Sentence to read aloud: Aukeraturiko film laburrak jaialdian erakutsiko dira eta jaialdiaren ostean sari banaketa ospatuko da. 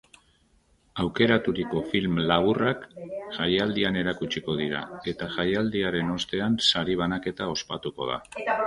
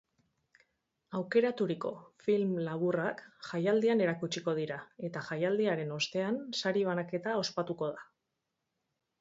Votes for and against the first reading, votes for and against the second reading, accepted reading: 1, 2, 4, 0, second